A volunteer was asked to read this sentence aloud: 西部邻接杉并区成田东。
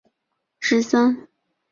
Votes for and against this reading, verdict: 0, 2, rejected